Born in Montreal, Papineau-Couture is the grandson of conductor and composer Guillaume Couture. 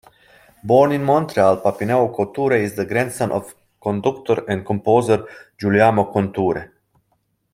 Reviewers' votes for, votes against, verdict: 2, 1, accepted